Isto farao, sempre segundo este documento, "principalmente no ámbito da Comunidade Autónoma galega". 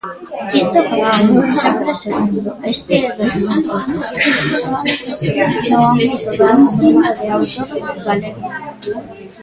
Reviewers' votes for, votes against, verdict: 0, 2, rejected